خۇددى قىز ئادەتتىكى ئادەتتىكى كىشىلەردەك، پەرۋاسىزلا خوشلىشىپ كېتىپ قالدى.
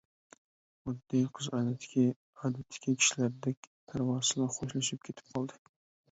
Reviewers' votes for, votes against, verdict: 1, 2, rejected